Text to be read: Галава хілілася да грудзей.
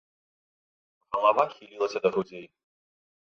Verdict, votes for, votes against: accepted, 2, 0